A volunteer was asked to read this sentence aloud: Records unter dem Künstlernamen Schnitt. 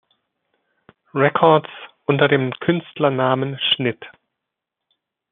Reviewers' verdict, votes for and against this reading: accepted, 2, 0